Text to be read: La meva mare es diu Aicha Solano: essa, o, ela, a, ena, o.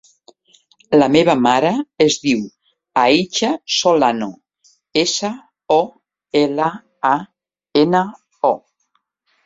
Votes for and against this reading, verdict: 3, 0, accepted